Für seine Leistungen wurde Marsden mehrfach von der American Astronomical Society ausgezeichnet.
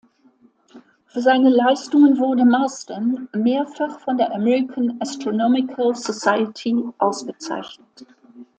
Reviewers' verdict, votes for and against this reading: accepted, 2, 0